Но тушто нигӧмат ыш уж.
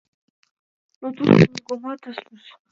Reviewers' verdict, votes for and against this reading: rejected, 0, 2